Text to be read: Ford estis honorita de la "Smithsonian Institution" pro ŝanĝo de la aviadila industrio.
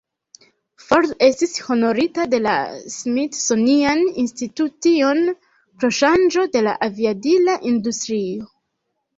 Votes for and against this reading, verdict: 0, 2, rejected